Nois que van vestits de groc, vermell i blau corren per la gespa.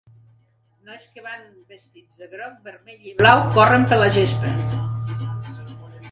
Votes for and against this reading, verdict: 0, 2, rejected